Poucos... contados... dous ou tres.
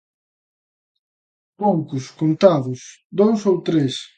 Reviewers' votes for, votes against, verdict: 2, 0, accepted